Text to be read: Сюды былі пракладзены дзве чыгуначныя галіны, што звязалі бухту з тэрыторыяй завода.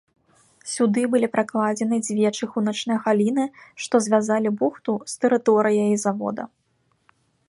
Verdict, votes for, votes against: accepted, 3, 0